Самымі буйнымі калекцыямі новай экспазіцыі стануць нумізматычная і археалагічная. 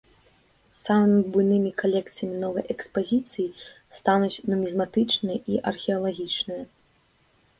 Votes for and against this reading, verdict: 2, 0, accepted